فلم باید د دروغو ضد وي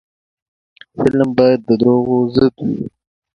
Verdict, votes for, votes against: accepted, 2, 0